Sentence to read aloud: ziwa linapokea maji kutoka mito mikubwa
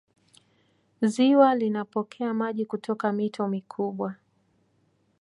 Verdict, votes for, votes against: accepted, 2, 0